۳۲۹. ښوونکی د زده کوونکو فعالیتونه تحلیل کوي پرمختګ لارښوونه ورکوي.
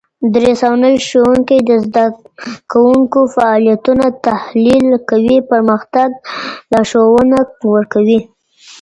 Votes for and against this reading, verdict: 0, 2, rejected